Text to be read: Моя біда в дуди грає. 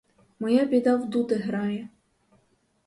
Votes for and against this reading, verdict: 2, 2, rejected